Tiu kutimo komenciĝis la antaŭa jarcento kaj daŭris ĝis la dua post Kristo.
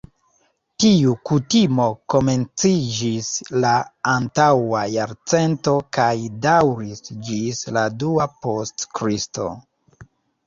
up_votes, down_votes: 2, 0